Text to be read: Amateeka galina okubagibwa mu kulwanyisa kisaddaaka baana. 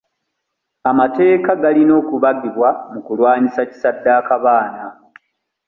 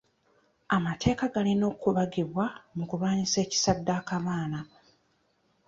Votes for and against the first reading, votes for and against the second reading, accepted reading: 2, 1, 1, 2, first